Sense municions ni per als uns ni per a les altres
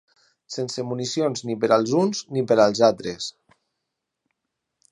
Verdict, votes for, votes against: rejected, 0, 4